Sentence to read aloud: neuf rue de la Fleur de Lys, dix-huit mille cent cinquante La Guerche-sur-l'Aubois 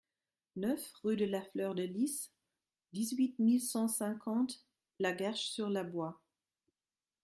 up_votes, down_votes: 0, 2